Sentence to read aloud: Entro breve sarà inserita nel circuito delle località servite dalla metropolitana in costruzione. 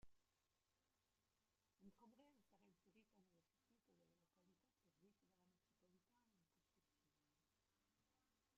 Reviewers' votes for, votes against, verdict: 0, 2, rejected